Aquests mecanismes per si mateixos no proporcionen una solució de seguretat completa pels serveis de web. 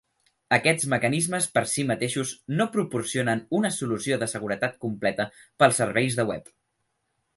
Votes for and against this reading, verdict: 3, 0, accepted